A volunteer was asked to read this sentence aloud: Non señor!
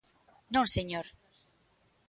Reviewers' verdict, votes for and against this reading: accepted, 3, 0